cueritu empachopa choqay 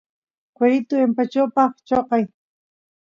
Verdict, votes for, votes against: accepted, 2, 0